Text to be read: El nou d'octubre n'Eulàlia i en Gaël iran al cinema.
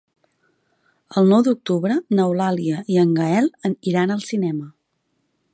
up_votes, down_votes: 1, 2